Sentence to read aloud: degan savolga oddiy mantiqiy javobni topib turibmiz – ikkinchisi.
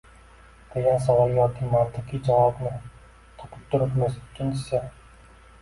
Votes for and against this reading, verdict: 0, 2, rejected